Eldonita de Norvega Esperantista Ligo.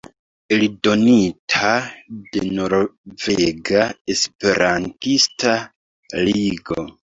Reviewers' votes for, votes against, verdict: 0, 2, rejected